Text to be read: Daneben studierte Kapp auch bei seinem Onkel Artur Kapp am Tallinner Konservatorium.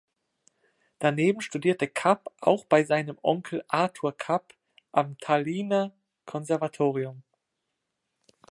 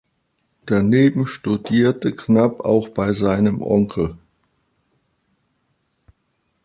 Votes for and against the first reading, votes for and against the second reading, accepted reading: 2, 0, 0, 2, first